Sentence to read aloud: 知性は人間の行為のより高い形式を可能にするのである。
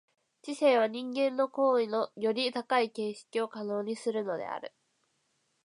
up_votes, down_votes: 8, 2